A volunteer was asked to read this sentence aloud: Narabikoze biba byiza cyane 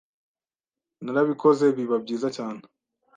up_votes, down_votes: 2, 0